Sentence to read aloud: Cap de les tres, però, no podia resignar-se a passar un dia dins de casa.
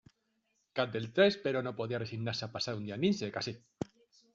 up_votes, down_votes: 0, 2